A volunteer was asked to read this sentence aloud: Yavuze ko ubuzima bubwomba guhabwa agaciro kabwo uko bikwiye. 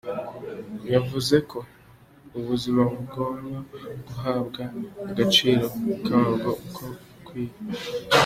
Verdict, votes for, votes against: accepted, 2, 0